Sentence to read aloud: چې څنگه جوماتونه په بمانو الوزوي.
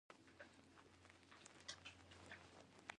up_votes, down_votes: 1, 2